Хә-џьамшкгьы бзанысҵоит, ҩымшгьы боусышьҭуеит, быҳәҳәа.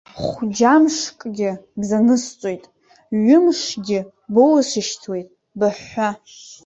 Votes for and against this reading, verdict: 1, 2, rejected